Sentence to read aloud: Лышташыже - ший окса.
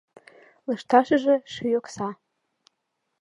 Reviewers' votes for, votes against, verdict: 2, 0, accepted